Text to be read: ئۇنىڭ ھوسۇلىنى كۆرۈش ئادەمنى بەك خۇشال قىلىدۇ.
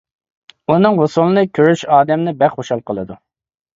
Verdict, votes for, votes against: accepted, 2, 0